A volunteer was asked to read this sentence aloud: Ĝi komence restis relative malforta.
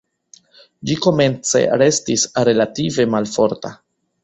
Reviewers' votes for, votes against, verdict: 3, 1, accepted